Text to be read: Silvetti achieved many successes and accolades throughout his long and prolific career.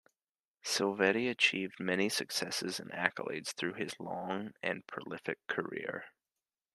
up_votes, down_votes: 2, 1